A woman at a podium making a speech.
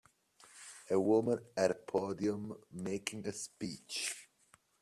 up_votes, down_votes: 0, 2